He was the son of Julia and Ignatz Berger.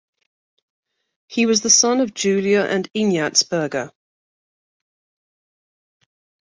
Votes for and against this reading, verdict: 2, 0, accepted